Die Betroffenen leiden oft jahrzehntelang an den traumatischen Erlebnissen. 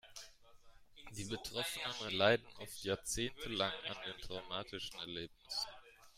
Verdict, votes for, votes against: rejected, 0, 2